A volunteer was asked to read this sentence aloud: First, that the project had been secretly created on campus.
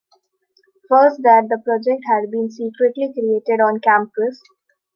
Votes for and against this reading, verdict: 2, 0, accepted